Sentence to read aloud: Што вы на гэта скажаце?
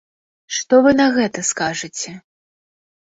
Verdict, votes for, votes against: rejected, 1, 2